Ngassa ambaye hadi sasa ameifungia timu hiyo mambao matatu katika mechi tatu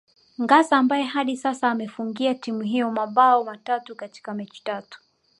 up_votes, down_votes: 1, 2